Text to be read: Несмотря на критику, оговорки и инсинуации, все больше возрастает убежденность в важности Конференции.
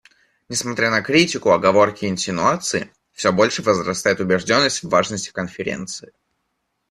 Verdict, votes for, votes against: accepted, 2, 0